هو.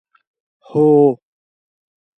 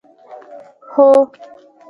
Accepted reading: first